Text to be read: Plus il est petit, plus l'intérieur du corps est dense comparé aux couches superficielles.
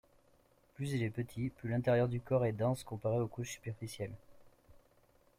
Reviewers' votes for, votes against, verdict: 2, 0, accepted